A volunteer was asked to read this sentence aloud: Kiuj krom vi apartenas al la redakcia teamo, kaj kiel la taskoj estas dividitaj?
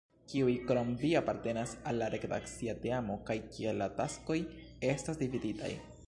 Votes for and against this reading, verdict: 0, 2, rejected